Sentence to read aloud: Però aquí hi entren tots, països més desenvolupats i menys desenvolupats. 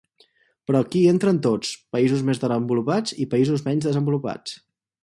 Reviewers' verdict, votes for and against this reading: rejected, 0, 4